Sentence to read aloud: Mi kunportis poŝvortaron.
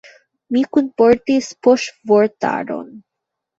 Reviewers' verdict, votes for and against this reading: rejected, 1, 2